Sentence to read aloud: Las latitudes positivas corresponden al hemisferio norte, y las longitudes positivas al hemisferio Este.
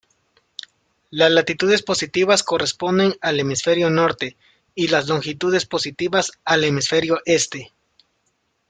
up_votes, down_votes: 2, 0